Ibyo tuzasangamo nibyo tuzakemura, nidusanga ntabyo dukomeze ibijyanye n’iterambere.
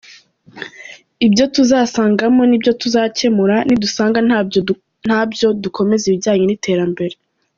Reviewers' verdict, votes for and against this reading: rejected, 0, 3